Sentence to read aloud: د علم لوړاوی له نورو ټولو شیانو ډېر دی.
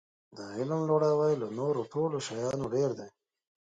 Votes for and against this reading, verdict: 2, 0, accepted